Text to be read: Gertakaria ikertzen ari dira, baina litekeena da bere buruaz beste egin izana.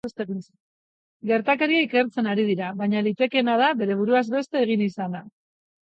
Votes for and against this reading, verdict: 0, 2, rejected